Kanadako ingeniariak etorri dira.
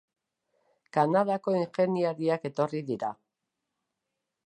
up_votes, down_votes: 2, 0